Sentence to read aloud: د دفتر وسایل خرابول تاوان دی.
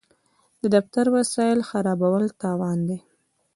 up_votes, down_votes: 0, 2